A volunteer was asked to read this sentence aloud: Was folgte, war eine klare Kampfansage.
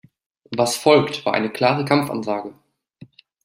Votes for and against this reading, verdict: 0, 2, rejected